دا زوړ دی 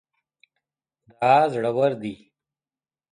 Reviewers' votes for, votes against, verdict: 2, 0, accepted